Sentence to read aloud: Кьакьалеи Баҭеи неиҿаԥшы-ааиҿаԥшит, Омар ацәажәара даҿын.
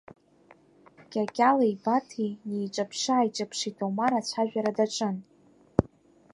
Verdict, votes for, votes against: accepted, 2, 1